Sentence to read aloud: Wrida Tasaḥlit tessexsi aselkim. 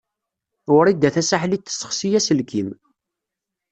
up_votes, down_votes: 2, 0